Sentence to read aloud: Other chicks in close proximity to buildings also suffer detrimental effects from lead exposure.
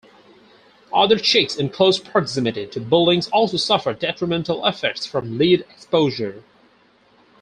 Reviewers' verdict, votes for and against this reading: rejected, 2, 2